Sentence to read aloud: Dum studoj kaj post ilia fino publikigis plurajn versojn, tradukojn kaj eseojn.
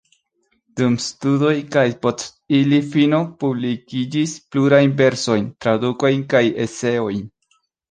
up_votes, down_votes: 0, 2